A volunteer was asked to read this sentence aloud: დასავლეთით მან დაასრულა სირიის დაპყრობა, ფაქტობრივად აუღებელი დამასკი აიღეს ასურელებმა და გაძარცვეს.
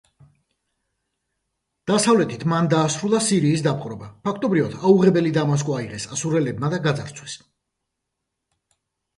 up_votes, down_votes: 1, 2